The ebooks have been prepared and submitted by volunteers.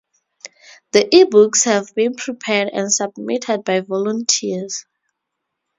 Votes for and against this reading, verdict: 2, 2, rejected